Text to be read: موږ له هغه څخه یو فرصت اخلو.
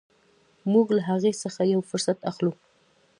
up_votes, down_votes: 2, 0